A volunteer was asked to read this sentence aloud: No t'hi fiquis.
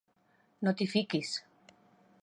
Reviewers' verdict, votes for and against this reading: accepted, 4, 0